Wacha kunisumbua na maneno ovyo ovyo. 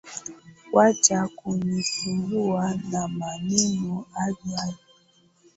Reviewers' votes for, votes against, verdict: 0, 2, rejected